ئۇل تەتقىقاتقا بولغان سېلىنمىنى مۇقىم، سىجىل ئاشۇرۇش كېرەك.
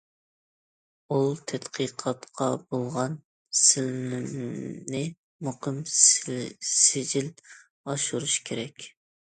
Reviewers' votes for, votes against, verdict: 0, 2, rejected